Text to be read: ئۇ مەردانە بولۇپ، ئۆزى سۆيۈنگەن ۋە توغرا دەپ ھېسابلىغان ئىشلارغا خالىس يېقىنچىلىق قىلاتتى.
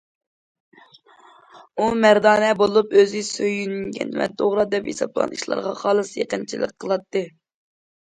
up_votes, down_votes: 2, 0